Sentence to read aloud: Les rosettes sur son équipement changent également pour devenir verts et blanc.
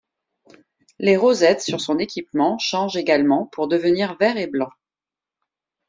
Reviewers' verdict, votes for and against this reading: accepted, 2, 0